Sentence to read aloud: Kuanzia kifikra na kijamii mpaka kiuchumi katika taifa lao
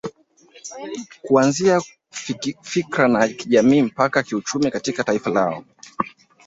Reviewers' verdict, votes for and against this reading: rejected, 0, 2